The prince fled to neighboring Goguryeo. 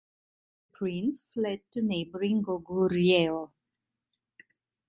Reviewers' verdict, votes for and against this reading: rejected, 1, 2